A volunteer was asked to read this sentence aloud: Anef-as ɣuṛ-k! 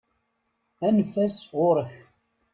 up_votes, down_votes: 2, 0